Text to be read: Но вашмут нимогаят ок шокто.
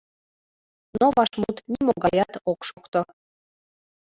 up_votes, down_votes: 2, 0